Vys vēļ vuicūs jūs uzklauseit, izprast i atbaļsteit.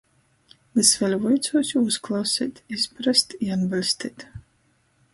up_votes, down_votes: 1, 2